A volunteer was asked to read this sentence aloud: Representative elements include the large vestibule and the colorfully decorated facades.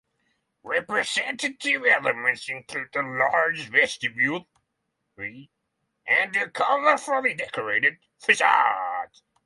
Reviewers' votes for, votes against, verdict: 0, 6, rejected